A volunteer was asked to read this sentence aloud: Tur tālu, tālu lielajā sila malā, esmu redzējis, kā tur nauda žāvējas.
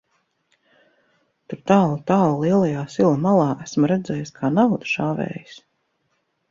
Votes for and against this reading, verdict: 1, 2, rejected